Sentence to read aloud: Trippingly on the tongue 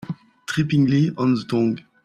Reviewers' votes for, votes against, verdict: 2, 1, accepted